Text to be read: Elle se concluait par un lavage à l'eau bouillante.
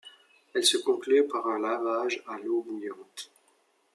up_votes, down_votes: 2, 0